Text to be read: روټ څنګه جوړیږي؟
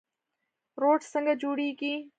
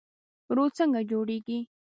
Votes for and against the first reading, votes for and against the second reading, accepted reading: 3, 0, 1, 2, first